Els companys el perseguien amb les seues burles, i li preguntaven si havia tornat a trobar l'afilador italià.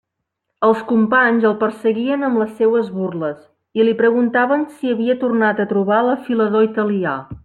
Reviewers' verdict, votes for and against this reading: accepted, 2, 0